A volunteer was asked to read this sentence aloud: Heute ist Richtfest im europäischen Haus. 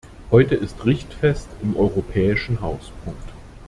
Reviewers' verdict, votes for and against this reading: rejected, 0, 2